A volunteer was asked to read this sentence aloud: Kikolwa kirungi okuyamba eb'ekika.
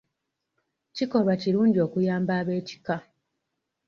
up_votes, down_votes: 2, 0